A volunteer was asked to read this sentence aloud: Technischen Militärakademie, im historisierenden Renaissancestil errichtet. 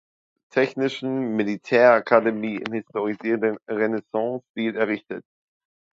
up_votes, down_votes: 2, 1